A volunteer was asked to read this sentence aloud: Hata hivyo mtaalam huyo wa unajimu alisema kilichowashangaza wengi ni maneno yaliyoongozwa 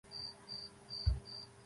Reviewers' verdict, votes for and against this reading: rejected, 0, 2